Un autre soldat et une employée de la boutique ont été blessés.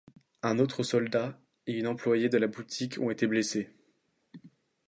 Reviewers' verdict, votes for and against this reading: accepted, 2, 0